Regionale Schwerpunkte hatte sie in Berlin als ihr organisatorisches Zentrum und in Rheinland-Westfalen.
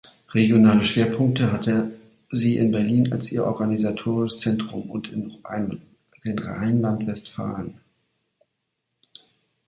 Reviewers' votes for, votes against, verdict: 0, 2, rejected